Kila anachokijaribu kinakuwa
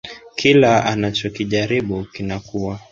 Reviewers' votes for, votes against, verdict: 2, 0, accepted